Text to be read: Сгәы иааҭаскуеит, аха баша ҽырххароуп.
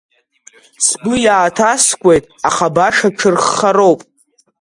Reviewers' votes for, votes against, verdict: 2, 0, accepted